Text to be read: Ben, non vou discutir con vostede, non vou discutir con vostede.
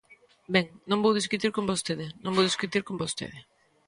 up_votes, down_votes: 2, 1